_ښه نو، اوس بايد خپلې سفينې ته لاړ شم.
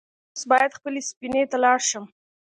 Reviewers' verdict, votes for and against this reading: rejected, 0, 2